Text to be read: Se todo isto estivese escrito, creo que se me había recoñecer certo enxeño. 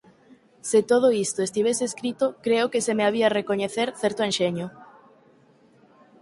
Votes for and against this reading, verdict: 4, 0, accepted